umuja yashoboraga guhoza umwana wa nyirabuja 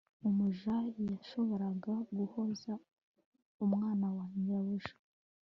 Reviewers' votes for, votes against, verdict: 2, 0, accepted